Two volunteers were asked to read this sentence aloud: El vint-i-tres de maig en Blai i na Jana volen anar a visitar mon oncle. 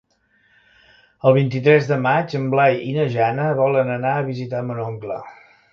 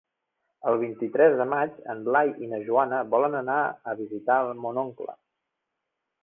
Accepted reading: first